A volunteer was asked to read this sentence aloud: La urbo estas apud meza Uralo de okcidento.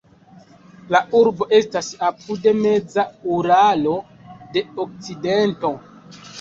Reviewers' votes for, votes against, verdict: 2, 0, accepted